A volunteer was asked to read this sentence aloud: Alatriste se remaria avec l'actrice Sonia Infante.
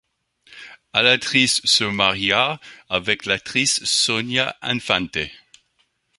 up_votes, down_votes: 1, 2